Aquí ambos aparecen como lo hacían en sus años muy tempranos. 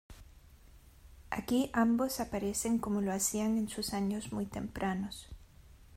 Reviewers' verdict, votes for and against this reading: accepted, 2, 0